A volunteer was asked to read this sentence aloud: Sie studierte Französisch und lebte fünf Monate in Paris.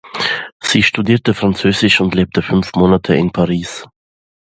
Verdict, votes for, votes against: accepted, 2, 0